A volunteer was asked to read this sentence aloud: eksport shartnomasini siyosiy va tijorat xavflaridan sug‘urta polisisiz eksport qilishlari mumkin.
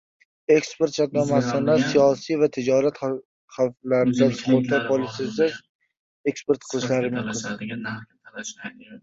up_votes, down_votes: 1, 3